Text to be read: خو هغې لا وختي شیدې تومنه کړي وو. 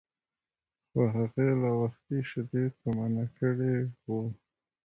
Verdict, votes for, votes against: accepted, 2, 0